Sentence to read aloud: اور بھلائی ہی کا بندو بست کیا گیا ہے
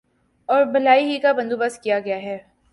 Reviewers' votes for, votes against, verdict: 6, 0, accepted